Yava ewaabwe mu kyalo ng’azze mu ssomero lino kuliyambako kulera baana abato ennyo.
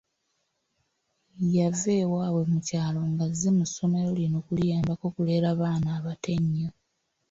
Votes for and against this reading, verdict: 2, 0, accepted